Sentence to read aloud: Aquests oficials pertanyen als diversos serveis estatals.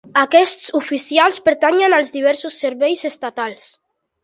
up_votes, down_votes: 3, 0